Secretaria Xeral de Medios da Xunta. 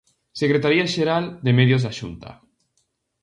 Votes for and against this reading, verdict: 0, 2, rejected